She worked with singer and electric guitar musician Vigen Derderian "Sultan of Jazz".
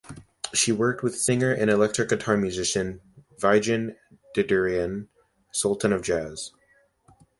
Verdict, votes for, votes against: accepted, 2, 0